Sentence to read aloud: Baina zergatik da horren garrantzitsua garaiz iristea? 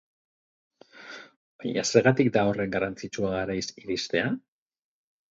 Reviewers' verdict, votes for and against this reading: accepted, 4, 0